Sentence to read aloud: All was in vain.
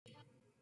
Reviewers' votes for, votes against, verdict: 0, 2, rejected